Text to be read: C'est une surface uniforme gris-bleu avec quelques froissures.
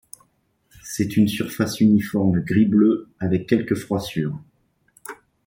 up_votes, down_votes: 2, 0